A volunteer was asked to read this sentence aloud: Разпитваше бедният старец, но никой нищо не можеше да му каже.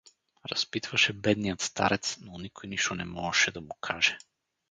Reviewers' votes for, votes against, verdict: 2, 2, rejected